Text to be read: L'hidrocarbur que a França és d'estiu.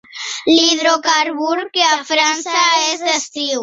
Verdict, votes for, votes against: accepted, 2, 1